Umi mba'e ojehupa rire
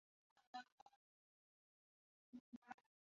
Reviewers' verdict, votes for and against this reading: rejected, 0, 2